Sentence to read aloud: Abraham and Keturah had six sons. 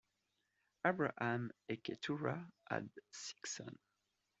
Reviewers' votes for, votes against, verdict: 0, 2, rejected